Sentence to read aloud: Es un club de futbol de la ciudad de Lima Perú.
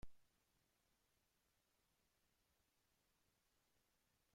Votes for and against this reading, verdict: 0, 2, rejected